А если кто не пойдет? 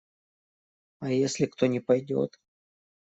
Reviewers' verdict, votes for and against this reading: accepted, 2, 0